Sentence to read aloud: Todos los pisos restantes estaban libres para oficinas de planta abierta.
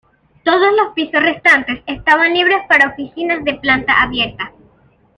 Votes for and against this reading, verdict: 2, 0, accepted